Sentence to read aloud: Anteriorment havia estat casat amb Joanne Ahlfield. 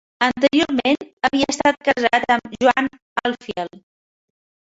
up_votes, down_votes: 2, 3